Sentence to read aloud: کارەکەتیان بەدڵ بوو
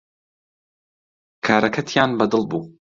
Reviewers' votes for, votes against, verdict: 2, 0, accepted